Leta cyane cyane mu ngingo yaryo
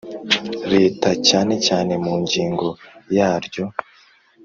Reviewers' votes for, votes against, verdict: 2, 0, accepted